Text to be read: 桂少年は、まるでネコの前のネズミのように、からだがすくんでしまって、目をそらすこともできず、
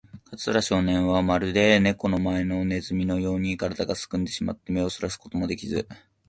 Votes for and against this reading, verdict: 3, 0, accepted